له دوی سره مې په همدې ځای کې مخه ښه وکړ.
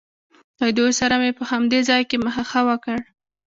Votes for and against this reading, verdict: 2, 1, accepted